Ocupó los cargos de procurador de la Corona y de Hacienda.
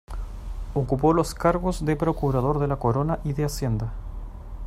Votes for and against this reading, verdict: 2, 0, accepted